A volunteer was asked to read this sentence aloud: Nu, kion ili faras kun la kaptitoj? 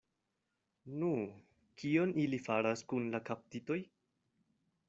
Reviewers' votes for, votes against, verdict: 2, 0, accepted